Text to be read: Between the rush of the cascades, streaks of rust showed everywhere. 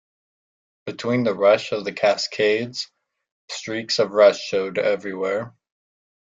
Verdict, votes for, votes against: accepted, 2, 0